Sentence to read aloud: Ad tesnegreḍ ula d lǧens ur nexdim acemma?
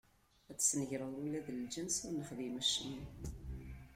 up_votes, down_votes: 1, 2